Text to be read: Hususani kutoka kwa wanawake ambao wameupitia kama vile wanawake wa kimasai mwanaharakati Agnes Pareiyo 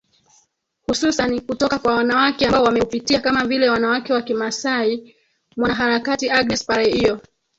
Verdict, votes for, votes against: rejected, 1, 3